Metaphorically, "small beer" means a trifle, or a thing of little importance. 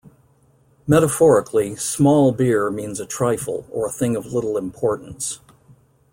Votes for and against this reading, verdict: 2, 0, accepted